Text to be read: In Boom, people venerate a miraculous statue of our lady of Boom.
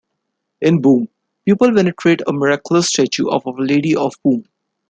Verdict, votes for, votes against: rejected, 1, 2